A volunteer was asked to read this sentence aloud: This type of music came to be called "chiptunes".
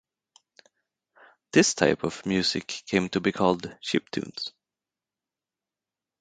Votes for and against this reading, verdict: 4, 0, accepted